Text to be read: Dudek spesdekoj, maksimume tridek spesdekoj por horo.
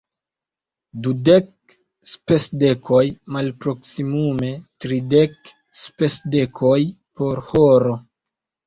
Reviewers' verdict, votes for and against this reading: rejected, 0, 2